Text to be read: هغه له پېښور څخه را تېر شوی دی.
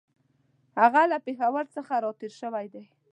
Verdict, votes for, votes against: accepted, 2, 0